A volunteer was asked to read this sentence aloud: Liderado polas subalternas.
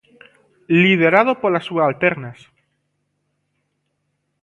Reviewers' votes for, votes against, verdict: 2, 0, accepted